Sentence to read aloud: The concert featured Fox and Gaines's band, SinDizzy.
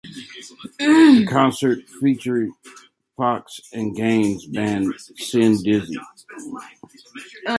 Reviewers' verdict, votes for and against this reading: accepted, 2, 1